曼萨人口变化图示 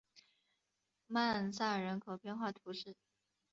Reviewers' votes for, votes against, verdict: 2, 0, accepted